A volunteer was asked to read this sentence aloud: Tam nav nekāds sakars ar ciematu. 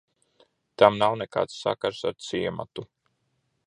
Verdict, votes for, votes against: accepted, 2, 0